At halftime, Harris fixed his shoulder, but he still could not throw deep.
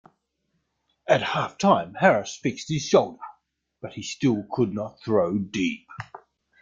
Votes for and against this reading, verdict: 0, 2, rejected